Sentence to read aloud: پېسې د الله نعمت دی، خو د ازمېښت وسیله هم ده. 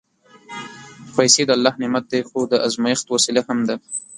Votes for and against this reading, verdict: 1, 2, rejected